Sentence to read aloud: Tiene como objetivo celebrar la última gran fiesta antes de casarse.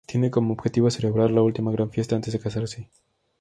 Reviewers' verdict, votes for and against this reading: accepted, 2, 0